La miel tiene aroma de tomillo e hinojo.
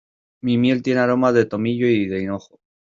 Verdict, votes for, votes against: rejected, 0, 2